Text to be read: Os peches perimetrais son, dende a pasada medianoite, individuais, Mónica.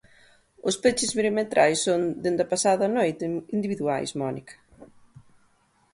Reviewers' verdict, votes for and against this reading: rejected, 0, 2